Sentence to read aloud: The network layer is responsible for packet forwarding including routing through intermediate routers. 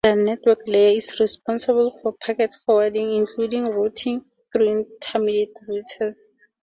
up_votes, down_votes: 0, 2